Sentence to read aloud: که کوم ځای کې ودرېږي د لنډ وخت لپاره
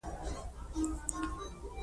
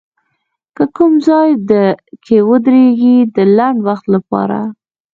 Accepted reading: second